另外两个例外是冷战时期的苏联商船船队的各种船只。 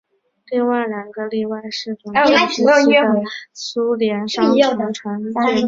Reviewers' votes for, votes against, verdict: 0, 3, rejected